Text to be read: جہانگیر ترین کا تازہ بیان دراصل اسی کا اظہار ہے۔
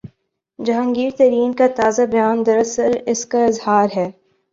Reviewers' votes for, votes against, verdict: 0, 2, rejected